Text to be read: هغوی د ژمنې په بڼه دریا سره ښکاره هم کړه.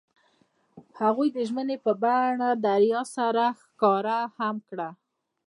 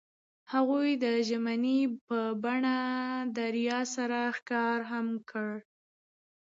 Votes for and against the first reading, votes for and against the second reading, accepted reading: 0, 2, 2, 0, second